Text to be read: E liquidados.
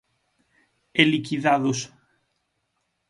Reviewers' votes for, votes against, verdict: 6, 0, accepted